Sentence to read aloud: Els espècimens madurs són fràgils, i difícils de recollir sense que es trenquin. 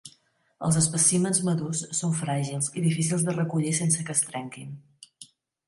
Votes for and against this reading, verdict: 2, 0, accepted